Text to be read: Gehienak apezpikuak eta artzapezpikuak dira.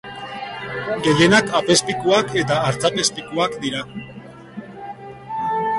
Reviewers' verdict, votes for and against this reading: rejected, 0, 2